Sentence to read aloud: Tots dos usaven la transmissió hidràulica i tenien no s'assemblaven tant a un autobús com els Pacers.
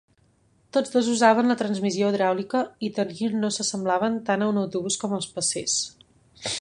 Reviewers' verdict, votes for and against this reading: rejected, 1, 3